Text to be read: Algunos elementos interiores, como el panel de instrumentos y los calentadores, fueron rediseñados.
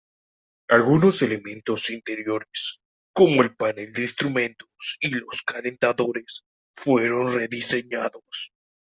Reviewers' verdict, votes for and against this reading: rejected, 1, 2